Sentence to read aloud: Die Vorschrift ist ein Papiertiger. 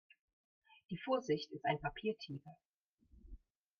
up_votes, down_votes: 0, 2